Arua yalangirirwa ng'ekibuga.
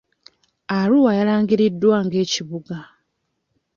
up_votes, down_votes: 0, 2